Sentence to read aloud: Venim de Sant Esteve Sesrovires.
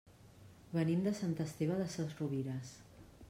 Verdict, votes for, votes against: rejected, 1, 2